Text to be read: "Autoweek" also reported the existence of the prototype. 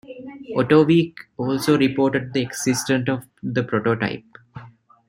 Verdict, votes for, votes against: rejected, 0, 2